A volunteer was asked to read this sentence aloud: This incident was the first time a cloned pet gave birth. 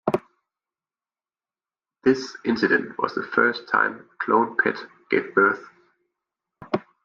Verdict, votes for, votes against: accepted, 2, 0